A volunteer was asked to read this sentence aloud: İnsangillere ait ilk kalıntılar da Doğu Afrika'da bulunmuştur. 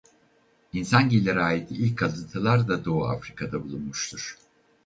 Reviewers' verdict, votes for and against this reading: rejected, 2, 2